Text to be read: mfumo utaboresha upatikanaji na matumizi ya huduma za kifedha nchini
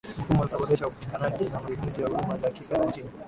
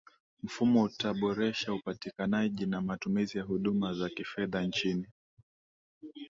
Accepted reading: second